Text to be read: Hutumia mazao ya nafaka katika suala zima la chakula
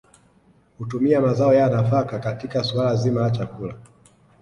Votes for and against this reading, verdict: 2, 0, accepted